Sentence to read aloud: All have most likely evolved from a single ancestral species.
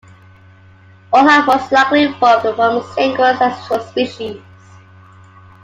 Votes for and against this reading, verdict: 2, 1, accepted